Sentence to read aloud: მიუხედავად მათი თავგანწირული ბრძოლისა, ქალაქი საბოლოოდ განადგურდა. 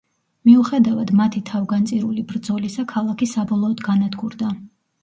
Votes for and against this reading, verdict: 2, 0, accepted